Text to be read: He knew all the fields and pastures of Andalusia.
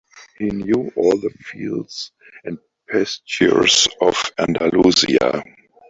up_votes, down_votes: 1, 3